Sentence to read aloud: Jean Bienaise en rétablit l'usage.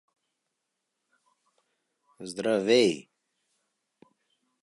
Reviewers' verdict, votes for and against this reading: rejected, 0, 2